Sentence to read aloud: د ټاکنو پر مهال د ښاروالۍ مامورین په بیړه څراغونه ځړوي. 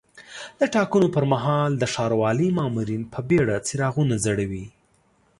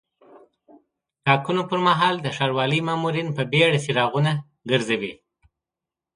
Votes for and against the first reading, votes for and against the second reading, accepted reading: 2, 0, 0, 2, first